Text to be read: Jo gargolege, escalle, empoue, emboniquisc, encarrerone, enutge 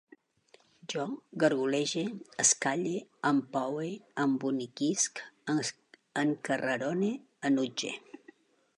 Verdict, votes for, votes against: rejected, 0, 2